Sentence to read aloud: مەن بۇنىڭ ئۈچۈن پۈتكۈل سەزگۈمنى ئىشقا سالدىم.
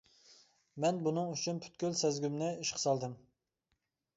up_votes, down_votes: 2, 0